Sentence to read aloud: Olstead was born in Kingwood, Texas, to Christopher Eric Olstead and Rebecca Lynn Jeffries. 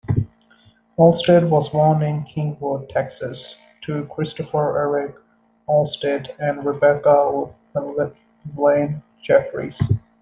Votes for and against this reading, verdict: 0, 2, rejected